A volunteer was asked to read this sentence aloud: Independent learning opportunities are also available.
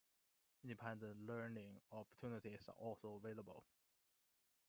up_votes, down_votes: 2, 1